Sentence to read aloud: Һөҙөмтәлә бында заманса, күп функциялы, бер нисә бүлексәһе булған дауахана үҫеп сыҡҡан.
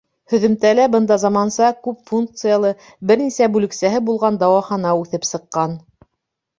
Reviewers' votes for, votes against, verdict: 2, 0, accepted